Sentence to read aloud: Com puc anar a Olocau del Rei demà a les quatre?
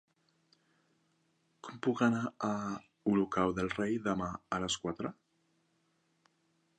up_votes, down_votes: 3, 1